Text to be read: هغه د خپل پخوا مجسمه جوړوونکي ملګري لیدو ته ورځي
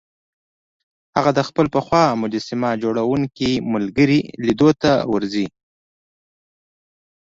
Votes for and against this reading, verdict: 2, 0, accepted